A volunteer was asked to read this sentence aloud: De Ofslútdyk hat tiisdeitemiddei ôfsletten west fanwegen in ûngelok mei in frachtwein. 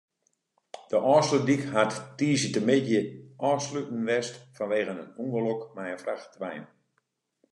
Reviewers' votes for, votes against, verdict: 2, 0, accepted